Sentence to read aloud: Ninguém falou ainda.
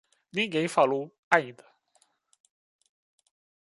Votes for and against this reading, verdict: 2, 0, accepted